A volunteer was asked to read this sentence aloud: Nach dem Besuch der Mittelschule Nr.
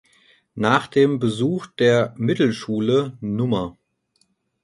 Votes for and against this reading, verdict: 2, 4, rejected